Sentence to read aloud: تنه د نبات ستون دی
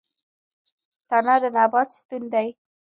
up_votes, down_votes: 1, 2